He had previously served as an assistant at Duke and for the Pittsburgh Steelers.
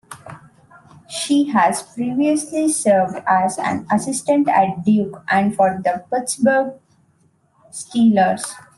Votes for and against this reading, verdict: 0, 2, rejected